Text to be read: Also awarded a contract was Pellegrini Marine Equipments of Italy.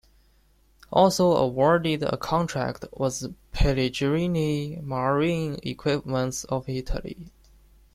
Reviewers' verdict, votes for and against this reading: rejected, 0, 2